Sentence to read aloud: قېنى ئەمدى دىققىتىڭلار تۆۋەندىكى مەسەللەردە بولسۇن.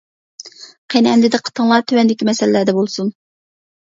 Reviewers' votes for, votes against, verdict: 2, 0, accepted